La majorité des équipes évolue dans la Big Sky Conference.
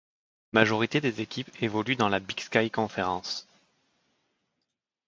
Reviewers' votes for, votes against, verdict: 1, 2, rejected